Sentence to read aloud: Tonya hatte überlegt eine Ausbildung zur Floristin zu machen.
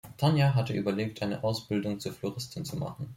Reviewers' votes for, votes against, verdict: 2, 1, accepted